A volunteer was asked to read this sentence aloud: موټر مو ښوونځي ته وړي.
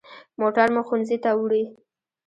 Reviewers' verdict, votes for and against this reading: rejected, 0, 2